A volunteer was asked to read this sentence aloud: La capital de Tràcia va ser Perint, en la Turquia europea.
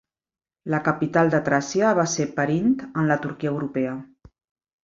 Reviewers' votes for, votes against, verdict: 3, 0, accepted